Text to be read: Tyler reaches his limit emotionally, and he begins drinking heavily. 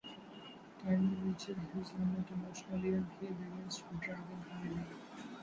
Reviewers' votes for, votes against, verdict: 1, 2, rejected